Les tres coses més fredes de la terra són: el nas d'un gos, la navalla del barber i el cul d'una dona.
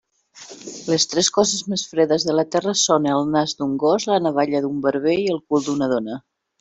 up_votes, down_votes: 1, 2